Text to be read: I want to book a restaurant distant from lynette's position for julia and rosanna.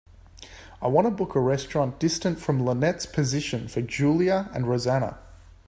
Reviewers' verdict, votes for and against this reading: accepted, 2, 1